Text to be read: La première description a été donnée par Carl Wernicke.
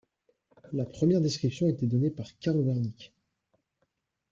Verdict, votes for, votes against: accepted, 2, 0